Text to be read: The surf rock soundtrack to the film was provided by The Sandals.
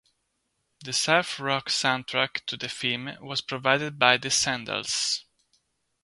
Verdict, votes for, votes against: accepted, 2, 0